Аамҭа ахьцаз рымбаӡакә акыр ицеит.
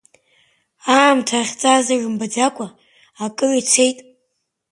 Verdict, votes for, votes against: accepted, 2, 0